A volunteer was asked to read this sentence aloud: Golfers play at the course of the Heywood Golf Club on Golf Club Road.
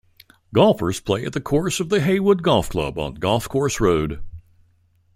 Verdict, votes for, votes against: rejected, 1, 2